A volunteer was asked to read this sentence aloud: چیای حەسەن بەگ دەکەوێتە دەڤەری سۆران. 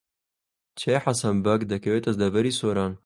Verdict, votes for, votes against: accepted, 2, 0